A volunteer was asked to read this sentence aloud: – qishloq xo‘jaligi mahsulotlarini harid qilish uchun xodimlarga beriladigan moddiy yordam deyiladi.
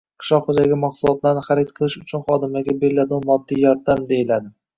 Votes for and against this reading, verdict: 2, 1, accepted